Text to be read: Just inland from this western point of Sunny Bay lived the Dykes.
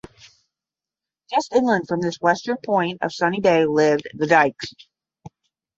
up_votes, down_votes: 10, 0